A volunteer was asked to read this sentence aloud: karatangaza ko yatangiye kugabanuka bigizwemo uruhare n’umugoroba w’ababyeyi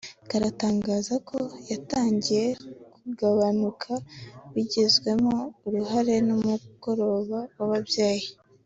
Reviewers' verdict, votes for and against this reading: accepted, 2, 0